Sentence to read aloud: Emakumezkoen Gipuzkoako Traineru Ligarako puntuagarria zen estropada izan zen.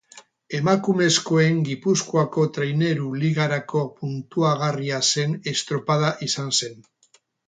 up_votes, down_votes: 0, 2